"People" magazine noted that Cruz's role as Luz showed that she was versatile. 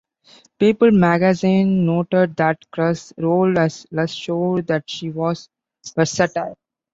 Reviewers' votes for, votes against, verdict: 1, 2, rejected